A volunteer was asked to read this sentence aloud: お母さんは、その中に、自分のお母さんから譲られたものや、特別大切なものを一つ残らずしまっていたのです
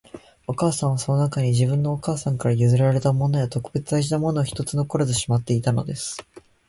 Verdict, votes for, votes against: accepted, 3, 0